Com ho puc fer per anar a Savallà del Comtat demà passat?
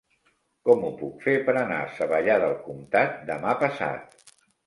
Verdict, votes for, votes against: accepted, 3, 0